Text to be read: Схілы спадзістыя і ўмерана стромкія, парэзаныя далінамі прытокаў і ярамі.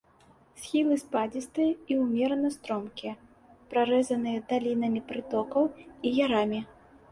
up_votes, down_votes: 0, 2